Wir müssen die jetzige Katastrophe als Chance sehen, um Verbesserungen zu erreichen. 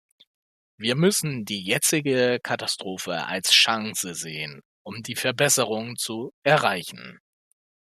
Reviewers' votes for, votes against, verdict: 0, 2, rejected